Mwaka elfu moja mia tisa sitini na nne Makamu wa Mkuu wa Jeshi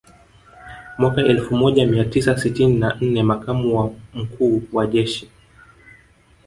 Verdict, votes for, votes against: rejected, 1, 2